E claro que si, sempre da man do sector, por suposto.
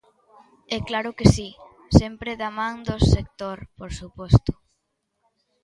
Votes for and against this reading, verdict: 2, 0, accepted